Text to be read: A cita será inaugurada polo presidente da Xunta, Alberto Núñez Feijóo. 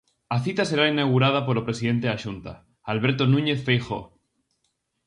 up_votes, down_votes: 4, 0